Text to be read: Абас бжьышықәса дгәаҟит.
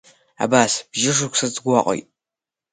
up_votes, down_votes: 2, 4